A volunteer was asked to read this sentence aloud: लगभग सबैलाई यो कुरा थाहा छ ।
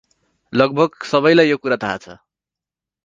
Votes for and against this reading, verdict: 4, 0, accepted